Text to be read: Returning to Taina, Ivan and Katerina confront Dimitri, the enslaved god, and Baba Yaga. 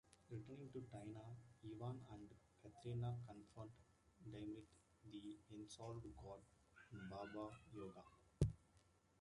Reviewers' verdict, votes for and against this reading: rejected, 0, 2